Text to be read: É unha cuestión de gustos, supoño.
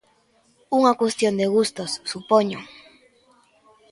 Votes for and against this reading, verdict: 1, 2, rejected